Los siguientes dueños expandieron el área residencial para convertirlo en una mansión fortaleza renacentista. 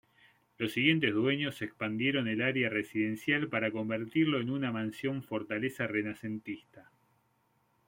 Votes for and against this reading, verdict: 2, 0, accepted